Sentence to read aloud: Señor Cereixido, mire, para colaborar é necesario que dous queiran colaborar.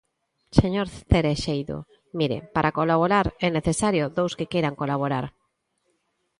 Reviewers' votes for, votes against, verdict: 2, 0, accepted